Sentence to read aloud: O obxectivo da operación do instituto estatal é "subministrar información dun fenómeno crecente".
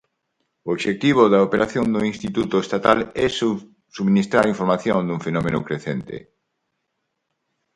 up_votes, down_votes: 0, 4